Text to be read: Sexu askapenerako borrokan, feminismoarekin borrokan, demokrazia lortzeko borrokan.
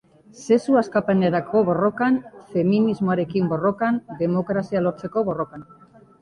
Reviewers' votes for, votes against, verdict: 2, 0, accepted